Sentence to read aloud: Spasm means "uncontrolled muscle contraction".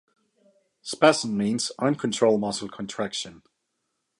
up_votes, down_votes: 2, 0